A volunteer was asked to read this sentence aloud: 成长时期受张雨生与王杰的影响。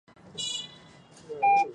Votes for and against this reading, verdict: 1, 4, rejected